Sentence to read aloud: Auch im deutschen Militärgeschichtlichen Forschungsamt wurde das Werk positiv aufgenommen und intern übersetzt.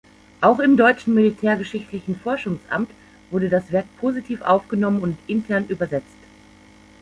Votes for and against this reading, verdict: 2, 0, accepted